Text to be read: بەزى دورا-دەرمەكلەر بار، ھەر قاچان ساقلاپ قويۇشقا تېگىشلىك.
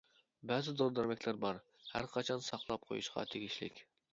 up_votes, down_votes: 1, 2